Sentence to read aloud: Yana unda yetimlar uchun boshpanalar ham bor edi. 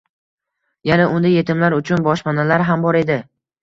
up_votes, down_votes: 0, 2